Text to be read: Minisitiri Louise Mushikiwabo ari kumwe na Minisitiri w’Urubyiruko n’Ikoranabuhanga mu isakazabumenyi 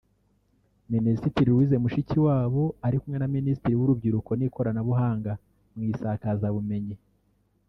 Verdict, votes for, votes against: rejected, 1, 2